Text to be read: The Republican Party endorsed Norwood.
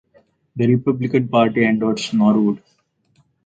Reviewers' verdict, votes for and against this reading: accepted, 4, 0